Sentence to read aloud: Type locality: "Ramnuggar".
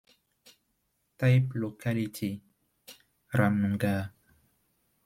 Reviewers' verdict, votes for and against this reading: accepted, 2, 1